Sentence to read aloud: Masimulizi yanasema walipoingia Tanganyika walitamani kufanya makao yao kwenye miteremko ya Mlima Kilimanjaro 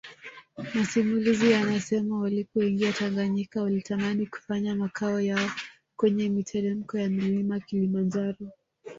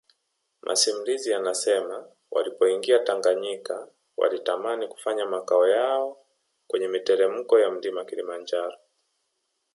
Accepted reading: second